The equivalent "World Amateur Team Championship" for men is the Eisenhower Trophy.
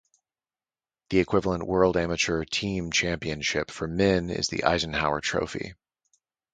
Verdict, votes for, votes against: accepted, 4, 0